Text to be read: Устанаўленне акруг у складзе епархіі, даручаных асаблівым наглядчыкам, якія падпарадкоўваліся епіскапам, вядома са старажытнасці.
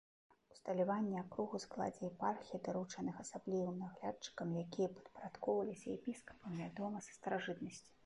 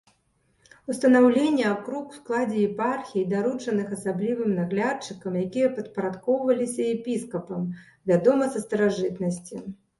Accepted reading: second